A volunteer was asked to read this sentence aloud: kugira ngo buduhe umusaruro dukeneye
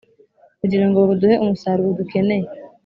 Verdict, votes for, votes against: accepted, 4, 0